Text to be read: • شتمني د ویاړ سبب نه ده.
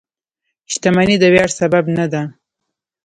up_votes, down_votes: 1, 2